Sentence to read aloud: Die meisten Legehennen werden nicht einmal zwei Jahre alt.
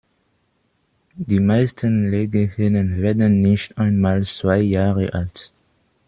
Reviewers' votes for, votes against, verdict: 2, 0, accepted